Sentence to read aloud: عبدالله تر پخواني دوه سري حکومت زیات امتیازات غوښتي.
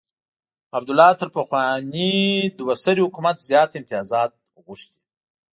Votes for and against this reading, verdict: 2, 1, accepted